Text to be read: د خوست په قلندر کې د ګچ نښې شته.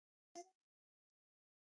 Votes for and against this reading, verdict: 0, 2, rejected